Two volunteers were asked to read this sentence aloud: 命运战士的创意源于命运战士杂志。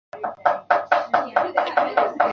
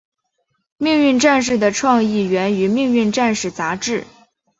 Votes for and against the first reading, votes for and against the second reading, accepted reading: 0, 4, 4, 0, second